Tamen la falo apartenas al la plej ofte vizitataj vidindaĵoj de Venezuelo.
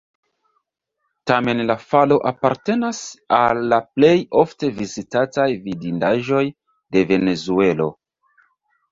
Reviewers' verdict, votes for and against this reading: accepted, 2, 0